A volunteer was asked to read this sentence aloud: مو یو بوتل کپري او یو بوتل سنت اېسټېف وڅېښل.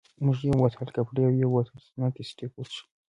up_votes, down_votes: 2, 0